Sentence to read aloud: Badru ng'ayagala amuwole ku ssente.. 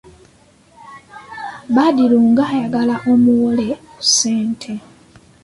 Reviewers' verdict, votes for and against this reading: accepted, 2, 1